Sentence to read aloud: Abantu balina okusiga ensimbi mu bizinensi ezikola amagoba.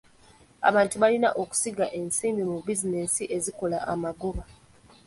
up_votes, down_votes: 3, 0